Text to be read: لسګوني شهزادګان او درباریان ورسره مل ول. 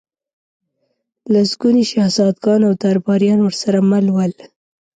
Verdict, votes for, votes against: accepted, 2, 0